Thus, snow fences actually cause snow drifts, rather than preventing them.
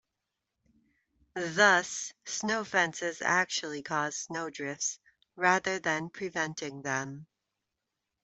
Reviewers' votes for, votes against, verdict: 2, 0, accepted